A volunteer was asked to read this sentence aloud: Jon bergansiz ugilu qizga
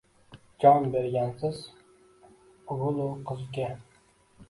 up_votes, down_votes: 1, 2